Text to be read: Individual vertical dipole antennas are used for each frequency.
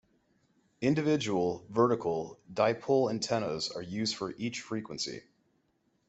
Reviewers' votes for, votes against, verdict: 2, 0, accepted